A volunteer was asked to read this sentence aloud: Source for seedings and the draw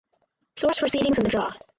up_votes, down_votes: 0, 6